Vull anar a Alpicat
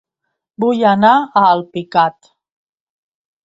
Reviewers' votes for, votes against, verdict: 2, 0, accepted